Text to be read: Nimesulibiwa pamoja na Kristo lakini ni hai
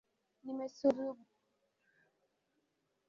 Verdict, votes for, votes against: rejected, 0, 2